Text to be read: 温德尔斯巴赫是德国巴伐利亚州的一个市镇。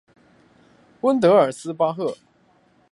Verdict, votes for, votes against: rejected, 3, 5